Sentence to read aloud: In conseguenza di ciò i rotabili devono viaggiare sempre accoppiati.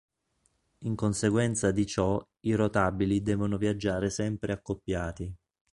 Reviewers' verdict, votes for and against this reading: accepted, 2, 0